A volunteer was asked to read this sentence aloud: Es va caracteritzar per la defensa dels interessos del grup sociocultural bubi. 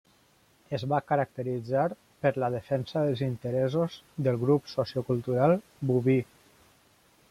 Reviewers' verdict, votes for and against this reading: accepted, 2, 0